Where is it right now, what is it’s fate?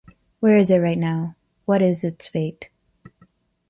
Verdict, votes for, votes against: accepted, 2, 0